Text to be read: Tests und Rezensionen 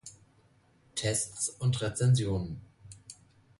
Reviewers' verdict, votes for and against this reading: accepted, 2, 0